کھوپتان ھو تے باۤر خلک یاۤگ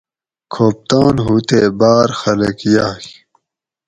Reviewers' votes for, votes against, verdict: 4, 0, accepted